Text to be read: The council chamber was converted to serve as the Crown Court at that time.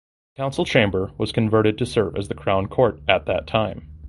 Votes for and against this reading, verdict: 0, 2, rejected